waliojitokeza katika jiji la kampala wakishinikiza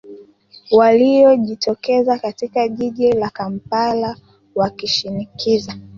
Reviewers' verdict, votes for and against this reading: accepted, 3, 1